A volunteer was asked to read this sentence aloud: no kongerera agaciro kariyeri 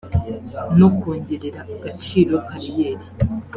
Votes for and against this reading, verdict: 2, 0, accepted